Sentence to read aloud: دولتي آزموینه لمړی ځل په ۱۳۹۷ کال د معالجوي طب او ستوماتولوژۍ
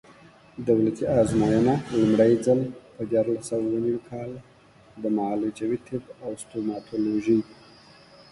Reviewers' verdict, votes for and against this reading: rejected, 0, 2